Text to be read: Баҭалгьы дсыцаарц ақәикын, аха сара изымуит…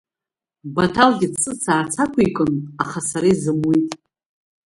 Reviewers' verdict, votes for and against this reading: accepted, 2, 0